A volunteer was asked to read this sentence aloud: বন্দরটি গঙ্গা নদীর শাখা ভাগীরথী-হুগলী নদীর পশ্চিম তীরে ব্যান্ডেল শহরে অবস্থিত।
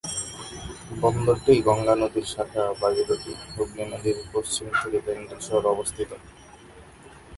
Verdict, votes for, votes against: rejected, 0, 3